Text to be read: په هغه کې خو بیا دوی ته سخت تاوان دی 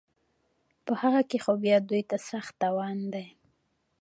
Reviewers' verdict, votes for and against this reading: rejected, 1, 2